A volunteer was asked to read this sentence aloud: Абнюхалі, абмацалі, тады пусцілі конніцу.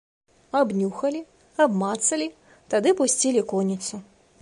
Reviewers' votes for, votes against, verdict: 2, 0, accepted